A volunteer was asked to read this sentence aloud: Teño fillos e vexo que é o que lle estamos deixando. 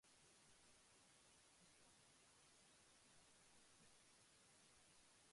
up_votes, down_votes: 0, 2